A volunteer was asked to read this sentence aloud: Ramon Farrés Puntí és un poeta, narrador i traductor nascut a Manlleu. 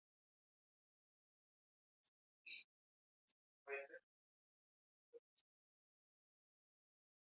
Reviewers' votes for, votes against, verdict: 0, 2, rejected